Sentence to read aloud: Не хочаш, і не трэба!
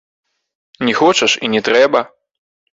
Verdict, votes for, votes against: rejected, 1, 2